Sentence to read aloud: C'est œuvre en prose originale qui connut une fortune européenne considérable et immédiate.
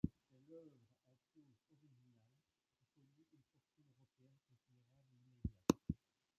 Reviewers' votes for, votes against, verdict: 1, 2, rejected